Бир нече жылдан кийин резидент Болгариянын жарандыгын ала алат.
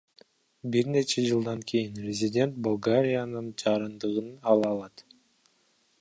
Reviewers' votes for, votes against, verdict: 1, 2, rejected